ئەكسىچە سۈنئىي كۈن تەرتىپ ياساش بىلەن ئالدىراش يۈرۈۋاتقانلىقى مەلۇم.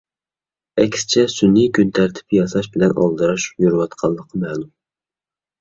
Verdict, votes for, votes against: accepted, 2, 0